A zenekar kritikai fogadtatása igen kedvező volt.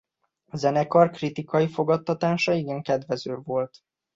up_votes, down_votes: 2, 0